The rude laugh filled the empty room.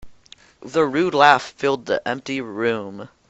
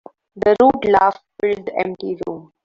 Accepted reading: first